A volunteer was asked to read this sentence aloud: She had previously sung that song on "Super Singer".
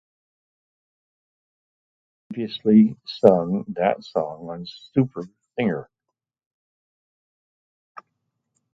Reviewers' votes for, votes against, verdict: 0, 4, rejected